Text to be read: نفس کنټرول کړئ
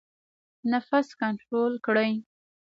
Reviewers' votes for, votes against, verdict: 0, 2, rejected